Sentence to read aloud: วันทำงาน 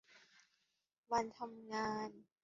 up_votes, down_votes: 1, 2